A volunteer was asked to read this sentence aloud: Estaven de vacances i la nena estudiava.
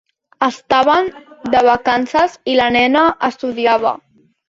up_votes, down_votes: 3, 0